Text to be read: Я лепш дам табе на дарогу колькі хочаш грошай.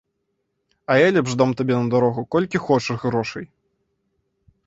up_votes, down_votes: 1, 2